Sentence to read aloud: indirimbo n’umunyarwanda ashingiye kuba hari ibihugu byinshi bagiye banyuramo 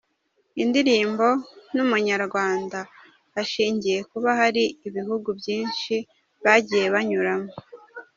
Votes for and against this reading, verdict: 2, 1, accepted